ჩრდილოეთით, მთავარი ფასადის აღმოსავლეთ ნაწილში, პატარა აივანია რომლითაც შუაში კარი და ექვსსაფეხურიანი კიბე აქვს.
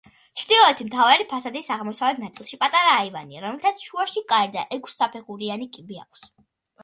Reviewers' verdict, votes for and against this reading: accepted, 2, 1